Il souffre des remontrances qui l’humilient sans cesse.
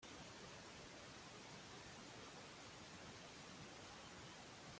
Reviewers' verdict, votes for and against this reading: rejected, 0, 2